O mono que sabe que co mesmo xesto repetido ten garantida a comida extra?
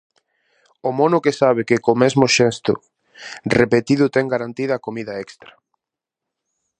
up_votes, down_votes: 2, 0